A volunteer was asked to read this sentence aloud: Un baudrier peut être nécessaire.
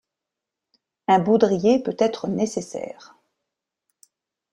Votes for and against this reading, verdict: 2, 0, accepted